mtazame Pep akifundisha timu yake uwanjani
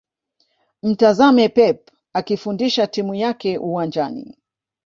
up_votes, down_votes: 1, 2